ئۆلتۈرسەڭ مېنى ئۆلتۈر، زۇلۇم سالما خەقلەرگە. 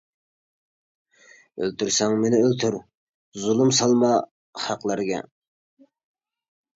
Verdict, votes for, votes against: accepted, 2, 0